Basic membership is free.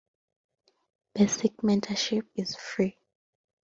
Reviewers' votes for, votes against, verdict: 2, 1, accepted